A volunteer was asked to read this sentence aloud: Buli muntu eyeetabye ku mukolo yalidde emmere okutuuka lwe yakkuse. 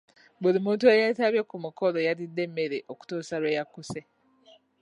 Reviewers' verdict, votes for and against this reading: rejected, 1, 3